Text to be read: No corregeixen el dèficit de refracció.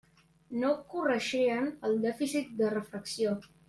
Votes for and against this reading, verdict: 0, 2, rejected